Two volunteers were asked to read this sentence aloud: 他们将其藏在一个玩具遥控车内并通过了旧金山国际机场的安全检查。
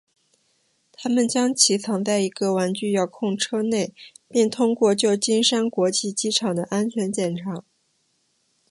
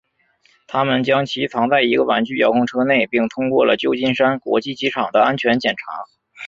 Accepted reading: second